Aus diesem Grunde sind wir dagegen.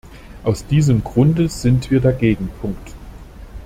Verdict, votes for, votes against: rejected, 0, 2